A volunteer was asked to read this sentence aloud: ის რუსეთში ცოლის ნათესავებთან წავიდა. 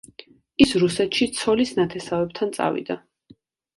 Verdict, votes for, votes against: accepted, 2, 0